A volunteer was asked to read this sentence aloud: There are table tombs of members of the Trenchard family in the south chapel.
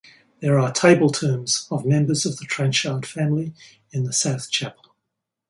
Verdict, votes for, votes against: accepted, 6, 0